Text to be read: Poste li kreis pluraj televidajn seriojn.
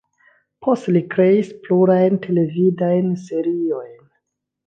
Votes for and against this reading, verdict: 2, 1, accepted